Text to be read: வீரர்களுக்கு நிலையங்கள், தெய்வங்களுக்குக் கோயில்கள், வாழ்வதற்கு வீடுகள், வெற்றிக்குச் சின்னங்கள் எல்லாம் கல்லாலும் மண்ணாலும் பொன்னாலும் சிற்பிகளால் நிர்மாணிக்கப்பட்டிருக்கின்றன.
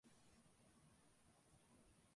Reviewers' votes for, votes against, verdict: 0, 2, rejected